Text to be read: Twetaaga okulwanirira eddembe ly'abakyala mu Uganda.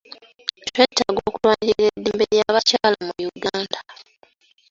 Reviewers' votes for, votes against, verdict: 1, 2, rejected